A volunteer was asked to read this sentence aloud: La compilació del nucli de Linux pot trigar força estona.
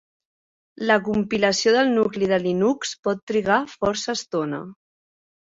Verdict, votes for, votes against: accepted, 3, 0